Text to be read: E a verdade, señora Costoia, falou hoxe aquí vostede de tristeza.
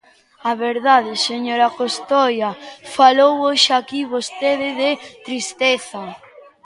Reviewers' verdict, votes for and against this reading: rejected, 0, 2